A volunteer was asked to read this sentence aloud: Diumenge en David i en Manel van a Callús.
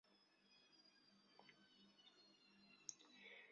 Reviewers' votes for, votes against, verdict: 0, 2, rejected